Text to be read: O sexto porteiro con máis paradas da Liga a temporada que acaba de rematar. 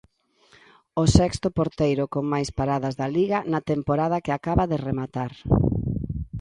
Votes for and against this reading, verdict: 1, 2, rejected